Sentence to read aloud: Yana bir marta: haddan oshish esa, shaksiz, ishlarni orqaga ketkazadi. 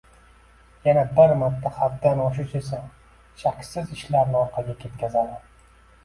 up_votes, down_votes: 2, 1